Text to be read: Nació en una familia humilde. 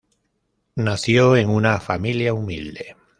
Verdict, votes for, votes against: accepted, 2, 0